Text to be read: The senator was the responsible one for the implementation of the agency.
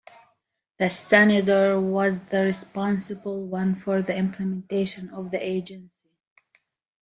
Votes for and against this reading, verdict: 2, 1, accepted